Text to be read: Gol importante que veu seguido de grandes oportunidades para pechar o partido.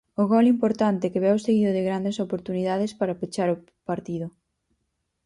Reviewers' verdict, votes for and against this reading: rejected, 0, 4